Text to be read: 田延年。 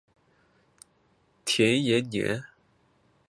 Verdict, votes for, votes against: accepted, 3, 1